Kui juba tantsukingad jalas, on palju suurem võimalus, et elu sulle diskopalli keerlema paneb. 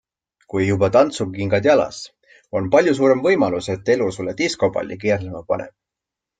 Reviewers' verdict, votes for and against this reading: accepted, 2, 0